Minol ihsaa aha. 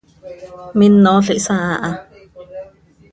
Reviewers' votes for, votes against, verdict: 1, 2, rejected